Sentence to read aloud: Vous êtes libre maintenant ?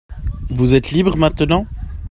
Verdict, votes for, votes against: accepted, 2, 0